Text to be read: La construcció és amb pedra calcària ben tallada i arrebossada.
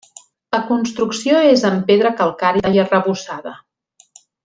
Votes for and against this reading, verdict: 0, 2, rejected